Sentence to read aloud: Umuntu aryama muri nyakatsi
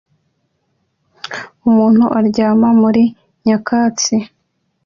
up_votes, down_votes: 2, 0